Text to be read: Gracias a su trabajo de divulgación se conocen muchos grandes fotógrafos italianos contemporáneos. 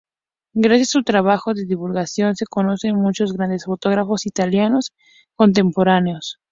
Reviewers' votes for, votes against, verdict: 2, 0, accepted